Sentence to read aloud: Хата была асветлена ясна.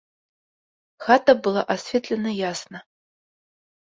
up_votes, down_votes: 2, 0